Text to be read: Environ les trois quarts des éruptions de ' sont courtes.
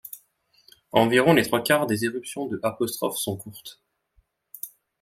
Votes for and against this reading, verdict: 0, 2, rejected